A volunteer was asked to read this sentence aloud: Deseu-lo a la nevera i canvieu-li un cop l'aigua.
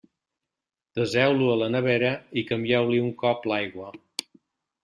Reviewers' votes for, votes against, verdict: 2, 0, accepted